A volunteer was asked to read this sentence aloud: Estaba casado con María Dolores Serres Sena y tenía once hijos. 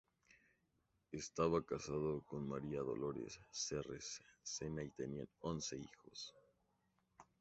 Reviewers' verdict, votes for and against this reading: accepted, 4, 0